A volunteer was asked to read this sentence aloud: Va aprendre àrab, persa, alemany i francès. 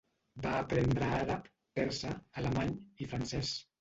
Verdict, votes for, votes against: rejected, 0, 2